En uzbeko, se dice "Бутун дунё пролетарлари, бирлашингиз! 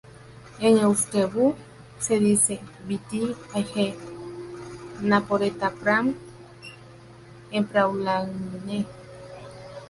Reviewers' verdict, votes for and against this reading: rejected, 0, 2